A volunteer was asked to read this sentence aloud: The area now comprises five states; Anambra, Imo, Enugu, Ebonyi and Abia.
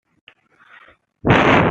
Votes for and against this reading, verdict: 0, 2, rejected